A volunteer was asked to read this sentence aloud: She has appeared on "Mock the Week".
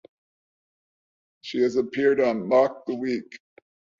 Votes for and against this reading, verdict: 2, 0, accepted